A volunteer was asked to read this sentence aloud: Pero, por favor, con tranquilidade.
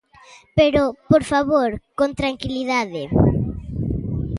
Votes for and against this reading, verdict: 2, 0, accepted